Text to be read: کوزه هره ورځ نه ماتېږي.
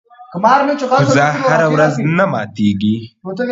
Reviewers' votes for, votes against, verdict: 1, 2, rejected